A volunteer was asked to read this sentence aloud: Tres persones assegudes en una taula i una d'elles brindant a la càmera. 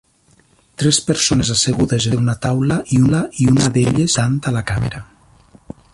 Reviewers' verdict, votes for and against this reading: rejected, 0, 2